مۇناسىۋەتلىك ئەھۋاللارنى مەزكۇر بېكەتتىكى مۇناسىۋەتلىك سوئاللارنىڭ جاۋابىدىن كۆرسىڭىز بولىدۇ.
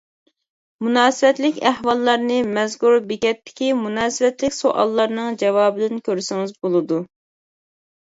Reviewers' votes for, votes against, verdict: 2, 0, accepted